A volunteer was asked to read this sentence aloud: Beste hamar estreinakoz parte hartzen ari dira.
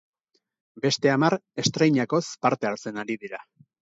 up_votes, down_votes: 4, 0